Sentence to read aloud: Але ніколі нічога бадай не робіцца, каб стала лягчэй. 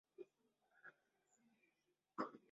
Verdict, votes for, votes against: rejected, 0, 2